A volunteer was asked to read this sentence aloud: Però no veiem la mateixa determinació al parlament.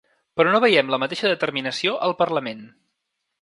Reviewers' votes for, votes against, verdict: 3, 0, accepted